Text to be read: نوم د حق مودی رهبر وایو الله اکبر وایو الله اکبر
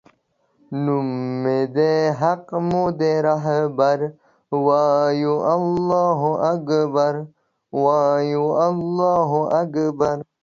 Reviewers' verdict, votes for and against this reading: rejected, 0, 2